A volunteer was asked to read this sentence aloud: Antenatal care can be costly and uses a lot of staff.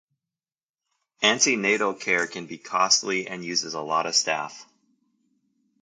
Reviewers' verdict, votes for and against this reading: accepted, 2, 0